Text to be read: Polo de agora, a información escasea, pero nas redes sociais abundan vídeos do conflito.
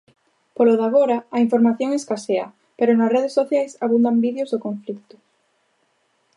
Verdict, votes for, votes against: rejected, 0, 2